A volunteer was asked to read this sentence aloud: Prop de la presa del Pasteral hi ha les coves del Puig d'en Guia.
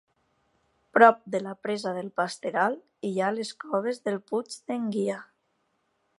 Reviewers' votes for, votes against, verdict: 2, 0, accepted